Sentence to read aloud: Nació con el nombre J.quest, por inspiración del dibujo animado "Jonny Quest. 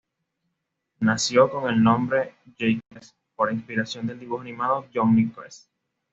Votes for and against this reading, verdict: 2, 0, accepted